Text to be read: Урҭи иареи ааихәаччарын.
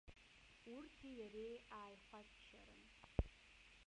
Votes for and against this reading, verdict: 0, 2, rejected